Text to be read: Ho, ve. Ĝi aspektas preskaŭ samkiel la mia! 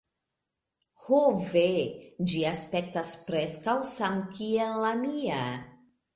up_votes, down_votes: 2, 0